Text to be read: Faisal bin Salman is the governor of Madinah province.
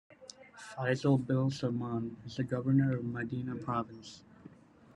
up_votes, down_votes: 3, 0